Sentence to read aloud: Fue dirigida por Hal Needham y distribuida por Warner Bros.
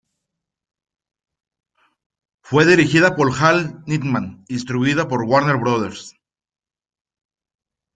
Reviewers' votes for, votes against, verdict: 0, 2, rejected